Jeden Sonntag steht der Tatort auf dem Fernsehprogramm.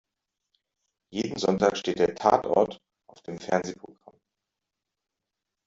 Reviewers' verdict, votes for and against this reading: rejected, 1, 2